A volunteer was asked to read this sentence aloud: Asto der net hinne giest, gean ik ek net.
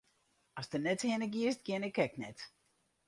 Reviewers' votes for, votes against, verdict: 2, 2, rejected